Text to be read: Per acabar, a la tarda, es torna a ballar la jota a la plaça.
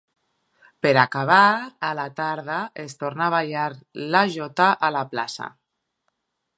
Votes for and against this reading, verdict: 3, 0, accepted